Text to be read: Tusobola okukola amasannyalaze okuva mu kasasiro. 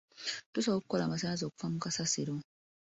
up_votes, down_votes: 2, 1